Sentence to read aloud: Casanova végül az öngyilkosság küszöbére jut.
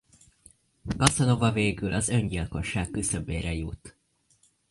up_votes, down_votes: 0, 2